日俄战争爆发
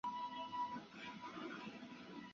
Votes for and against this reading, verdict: 1, 4, rejected